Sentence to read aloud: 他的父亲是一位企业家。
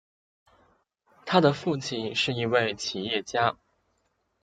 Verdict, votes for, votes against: accepted, 3, 0